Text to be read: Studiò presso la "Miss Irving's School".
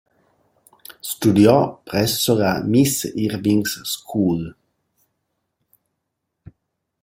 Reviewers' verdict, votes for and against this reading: rejected, 1, 2